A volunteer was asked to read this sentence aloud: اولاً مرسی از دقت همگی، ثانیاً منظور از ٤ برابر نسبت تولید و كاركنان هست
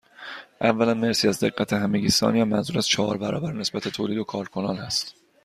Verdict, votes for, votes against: rejected, 0, 2